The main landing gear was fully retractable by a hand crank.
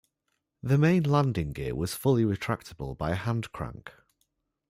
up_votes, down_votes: 2, 0